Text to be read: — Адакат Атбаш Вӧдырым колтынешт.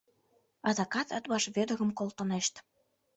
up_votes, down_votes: 3, 0